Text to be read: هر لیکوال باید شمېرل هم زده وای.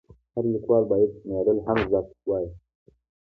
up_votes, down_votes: 2, 0